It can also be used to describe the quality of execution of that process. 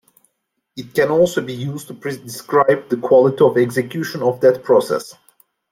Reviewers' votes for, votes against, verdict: 1, 2, rejected